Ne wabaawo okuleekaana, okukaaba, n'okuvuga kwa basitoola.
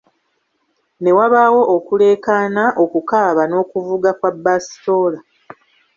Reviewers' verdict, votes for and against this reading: rejected, 1, 2